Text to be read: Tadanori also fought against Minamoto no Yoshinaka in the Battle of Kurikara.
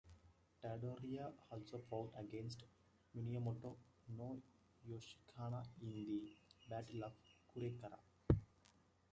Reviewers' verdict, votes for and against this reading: rejected, 0, 2